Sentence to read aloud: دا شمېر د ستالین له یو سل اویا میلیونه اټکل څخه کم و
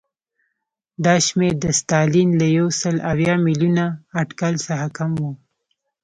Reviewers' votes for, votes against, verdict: 3, 0, accepted